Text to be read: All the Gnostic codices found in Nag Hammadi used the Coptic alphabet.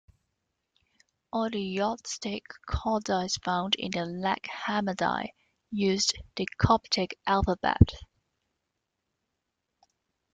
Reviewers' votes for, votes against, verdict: 2, 1, accepted